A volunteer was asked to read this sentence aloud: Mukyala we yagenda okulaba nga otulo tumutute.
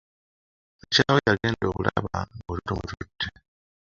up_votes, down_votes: 0, 2